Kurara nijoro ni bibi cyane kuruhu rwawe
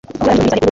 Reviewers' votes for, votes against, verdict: 1, 2, rejected